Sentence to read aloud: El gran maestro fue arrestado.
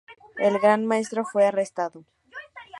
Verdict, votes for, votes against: accepted, 2, 0